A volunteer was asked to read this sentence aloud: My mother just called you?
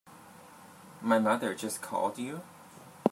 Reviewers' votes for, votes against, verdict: 2, 0, accepted